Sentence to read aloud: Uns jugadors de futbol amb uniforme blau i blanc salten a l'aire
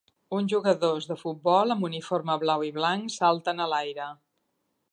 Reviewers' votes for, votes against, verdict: 2, 0, accepted